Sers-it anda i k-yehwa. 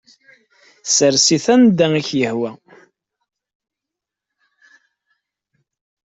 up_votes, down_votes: 2, 0